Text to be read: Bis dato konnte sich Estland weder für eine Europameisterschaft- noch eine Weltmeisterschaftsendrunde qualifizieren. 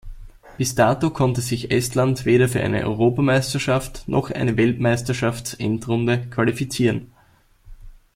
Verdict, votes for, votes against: accepted, 2, 0